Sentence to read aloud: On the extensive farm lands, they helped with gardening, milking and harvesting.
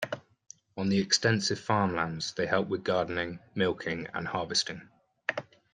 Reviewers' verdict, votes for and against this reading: accepted, 2, 0